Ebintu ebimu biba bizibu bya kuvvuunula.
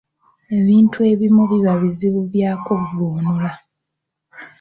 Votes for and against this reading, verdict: 1, 2, rejected